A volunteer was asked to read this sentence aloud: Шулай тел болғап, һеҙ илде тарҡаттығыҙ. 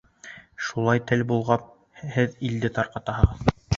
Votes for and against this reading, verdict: 0, 2, rejected